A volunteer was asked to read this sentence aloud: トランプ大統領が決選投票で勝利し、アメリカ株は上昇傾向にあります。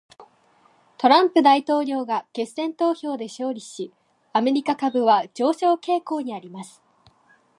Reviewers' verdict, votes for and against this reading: accepted, 2, 0